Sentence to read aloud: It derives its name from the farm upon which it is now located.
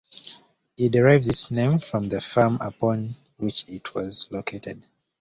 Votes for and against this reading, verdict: 1, 2, rejected